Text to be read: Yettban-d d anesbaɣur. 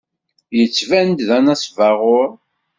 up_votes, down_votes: 2, 0